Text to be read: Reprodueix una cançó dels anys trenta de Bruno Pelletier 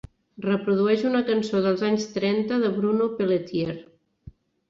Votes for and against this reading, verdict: 3, 0, accepted